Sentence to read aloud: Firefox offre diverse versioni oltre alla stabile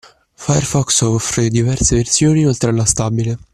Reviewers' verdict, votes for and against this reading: accepted, 2, 1